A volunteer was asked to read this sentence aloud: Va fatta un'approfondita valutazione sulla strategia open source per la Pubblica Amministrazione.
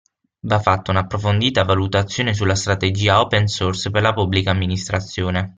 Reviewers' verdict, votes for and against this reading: accepted, 6, 0